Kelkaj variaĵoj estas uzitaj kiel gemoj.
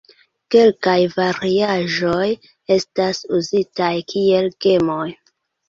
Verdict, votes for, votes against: accepted, 2, 0